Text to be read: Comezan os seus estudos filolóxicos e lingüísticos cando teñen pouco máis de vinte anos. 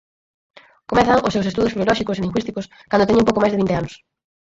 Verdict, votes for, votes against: accepted, 4, 2